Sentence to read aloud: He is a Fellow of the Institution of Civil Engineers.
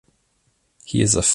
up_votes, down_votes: 0, 2